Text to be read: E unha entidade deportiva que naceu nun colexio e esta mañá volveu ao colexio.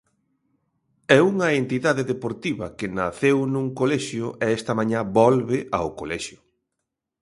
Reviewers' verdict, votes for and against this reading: rejected, 0, 2